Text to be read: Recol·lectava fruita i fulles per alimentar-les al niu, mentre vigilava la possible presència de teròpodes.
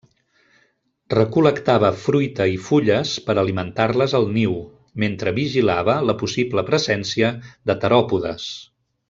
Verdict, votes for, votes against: accepted, 3, 0